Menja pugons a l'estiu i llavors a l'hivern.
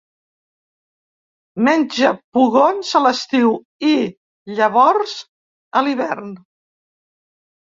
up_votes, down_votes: 2, 0